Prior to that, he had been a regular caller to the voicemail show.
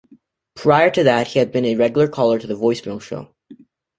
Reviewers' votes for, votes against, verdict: 2, 0, accepted